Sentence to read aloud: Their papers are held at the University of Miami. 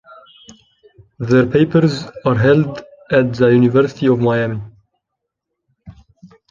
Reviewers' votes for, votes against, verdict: 2, 0, accepted